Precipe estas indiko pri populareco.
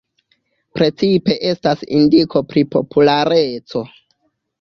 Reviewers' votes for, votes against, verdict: 3, 0, accepted